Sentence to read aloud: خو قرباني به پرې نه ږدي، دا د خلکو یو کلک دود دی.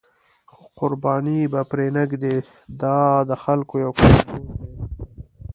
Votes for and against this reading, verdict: 0, 2, rejected